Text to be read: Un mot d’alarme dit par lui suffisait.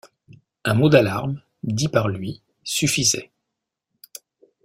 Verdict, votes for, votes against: accepted, 2, 0